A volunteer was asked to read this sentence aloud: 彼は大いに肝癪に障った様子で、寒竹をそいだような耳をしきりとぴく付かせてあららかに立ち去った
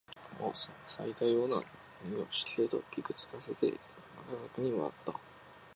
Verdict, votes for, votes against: rejected, 0, 3